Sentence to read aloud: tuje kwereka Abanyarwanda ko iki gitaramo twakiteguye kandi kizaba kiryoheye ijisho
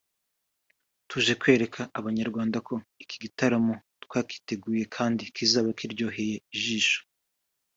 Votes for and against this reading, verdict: 2, 1, accepted